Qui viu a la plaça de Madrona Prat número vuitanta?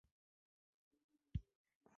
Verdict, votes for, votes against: rejected, 1, 3